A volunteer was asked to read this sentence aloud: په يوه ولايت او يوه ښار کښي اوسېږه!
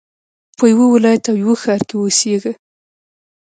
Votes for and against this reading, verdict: 2, 0, accepted